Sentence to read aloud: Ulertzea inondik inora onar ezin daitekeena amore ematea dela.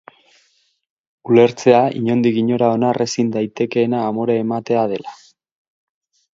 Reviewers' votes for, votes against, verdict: 6, 0, accepted